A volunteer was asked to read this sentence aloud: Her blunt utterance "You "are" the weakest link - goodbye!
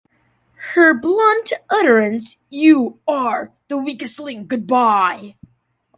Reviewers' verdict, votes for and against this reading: accepted, 2, 0